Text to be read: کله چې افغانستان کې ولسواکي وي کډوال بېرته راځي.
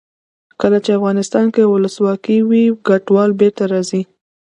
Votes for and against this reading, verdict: 1, 2, rejected